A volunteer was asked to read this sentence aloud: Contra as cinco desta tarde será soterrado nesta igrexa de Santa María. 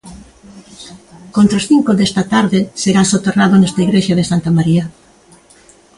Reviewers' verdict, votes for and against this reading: accepted, 2, 0